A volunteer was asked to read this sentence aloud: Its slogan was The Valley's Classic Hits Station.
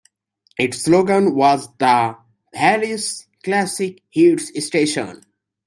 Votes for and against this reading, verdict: 3, 0, accepted